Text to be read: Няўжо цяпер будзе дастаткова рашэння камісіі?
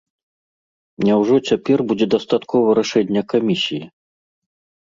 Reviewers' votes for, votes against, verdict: 2, 0, accepted